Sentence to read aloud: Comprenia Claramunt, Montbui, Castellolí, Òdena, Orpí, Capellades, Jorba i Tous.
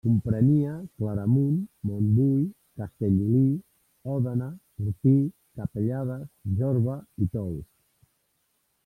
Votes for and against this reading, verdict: 3, 1, accepted